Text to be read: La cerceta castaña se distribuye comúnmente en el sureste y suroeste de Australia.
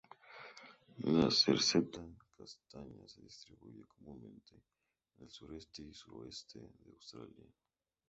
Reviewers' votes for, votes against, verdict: 0, 2, rejected